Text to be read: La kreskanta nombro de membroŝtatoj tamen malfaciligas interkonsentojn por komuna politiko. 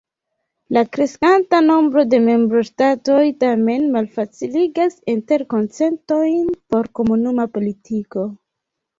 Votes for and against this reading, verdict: 0, 2, rejected